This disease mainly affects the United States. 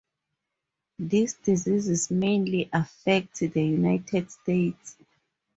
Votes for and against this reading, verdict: 0, 2, rejected